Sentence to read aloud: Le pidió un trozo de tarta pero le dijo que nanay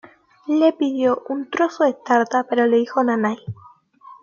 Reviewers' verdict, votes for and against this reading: rejected, 1, 2